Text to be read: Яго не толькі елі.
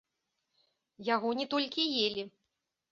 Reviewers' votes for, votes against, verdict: 2, 0, accepted